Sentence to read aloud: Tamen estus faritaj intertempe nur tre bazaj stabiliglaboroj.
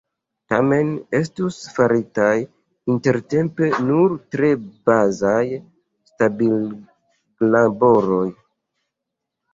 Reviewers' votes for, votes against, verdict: 0, 2, rejected